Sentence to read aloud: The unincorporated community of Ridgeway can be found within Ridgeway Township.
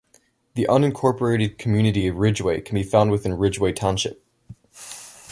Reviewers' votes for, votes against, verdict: 2, 0, accepted